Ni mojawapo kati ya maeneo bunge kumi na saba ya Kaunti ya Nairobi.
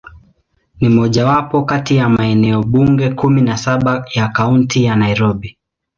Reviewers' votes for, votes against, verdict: 2, 0, accepted